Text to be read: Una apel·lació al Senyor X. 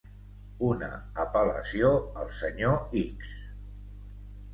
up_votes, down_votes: 3, 0